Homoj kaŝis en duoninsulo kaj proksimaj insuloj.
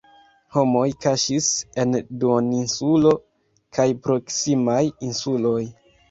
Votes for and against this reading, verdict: 2, 0, accepted